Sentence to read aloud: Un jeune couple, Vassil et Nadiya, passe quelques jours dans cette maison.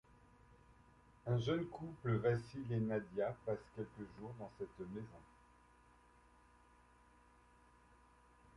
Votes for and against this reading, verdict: 2, 0, accepted